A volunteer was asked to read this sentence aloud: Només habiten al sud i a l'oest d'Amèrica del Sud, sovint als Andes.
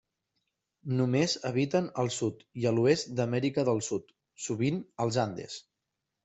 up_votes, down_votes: 3, 0